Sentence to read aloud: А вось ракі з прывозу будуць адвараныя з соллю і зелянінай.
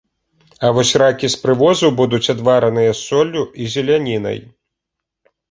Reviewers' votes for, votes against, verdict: 2, 0, accepted